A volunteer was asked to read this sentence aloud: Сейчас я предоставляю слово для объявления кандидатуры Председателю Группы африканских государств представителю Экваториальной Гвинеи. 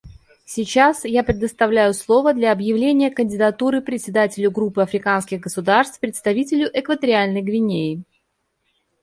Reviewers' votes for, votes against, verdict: 2, 0, accepted